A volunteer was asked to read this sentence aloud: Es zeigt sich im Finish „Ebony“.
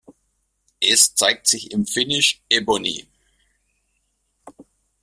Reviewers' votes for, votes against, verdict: 2, 0, accepted